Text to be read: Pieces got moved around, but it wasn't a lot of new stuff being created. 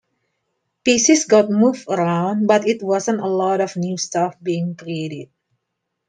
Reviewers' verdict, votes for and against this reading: accepted, 2, 1